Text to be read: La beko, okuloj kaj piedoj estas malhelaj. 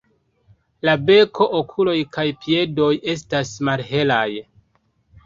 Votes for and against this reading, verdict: 2, 0, accepted